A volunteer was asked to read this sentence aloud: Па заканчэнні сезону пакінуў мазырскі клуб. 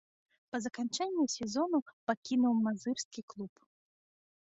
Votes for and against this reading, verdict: 2, 0, accepted